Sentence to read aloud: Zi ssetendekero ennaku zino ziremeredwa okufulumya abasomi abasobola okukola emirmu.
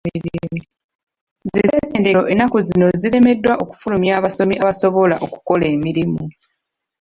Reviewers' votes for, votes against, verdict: 1, 2, rejected